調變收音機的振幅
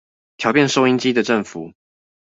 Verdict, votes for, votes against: accepted, 2, 0